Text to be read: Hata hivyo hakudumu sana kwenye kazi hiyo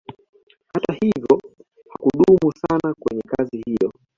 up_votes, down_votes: 2, 0